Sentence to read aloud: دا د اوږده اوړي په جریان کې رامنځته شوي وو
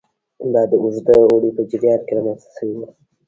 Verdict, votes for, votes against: rejected, 0, 2